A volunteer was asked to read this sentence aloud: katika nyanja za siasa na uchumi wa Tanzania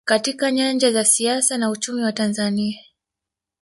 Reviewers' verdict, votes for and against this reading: accepted, 3, 1